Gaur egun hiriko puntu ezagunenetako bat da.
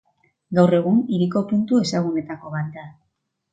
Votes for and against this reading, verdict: 1, 2, rejected